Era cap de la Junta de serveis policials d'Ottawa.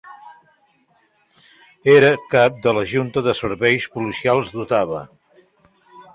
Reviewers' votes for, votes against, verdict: 2, 1, accepted